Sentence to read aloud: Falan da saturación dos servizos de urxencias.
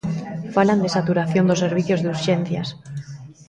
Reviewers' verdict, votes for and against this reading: rejected, 0, 2